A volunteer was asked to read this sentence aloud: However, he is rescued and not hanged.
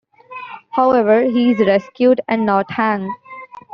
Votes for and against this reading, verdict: 2, 0, accepted